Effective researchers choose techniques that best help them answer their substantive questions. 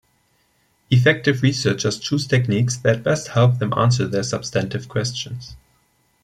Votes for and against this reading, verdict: 2, 0, accepted